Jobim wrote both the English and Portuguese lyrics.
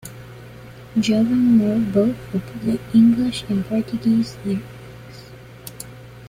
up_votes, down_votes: 1, 2